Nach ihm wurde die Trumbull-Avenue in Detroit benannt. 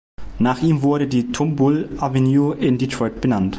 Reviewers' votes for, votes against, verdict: 0, 2, rejected